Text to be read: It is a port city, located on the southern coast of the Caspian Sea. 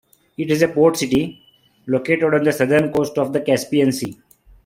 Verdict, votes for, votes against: accepted, 2, 0